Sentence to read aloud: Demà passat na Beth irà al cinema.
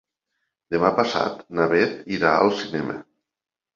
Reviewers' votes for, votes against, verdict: 3, 1, accepted